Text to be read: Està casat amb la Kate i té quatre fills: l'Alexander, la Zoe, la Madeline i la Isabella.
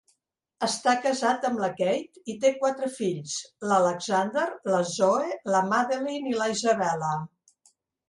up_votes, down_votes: 1, 2